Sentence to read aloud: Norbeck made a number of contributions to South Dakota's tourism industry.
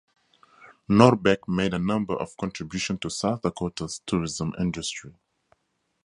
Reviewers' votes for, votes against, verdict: 0, 4, rejected